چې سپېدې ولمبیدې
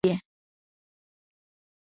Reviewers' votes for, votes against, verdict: 1, 2, rejected